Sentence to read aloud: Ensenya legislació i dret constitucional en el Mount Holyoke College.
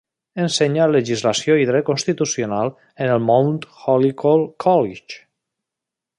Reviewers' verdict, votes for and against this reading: rejected, 0, 2